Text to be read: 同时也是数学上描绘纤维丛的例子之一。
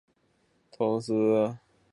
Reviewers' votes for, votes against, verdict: 0, 2, rejected